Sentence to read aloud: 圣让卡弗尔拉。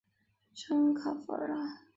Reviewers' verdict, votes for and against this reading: rejected, 1, 2